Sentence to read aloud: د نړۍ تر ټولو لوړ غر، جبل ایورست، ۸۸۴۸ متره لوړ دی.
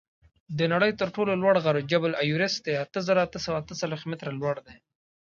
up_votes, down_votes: 0, 2